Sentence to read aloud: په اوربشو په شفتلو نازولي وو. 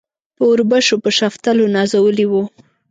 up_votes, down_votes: 2, 0